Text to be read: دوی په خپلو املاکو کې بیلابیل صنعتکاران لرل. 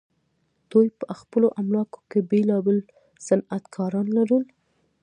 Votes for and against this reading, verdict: 0, 2, rejected